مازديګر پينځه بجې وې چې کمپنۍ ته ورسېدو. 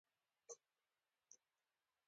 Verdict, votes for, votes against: accepted, 2, 0